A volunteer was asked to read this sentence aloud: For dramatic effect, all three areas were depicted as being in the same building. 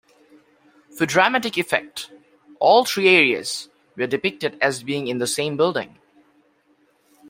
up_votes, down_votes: 2, 1